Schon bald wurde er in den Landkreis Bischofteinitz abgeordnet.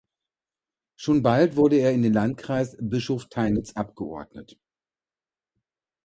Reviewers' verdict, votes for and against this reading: accepted, 2, 0